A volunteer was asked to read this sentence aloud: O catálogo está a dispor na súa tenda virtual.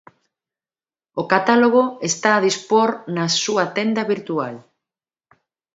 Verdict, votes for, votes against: accepted, 2, 0